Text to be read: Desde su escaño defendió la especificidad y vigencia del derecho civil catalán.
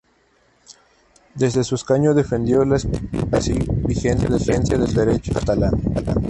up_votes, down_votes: 0, 2